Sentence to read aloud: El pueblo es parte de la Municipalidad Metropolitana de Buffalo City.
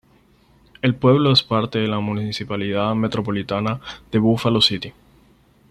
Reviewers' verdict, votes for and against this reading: accepted, 4, 0